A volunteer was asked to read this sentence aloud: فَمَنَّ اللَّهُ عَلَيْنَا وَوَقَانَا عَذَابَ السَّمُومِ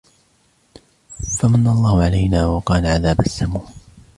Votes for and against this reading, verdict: 2, 0, accepted